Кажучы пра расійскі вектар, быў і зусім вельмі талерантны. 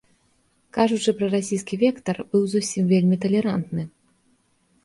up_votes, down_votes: 1, 2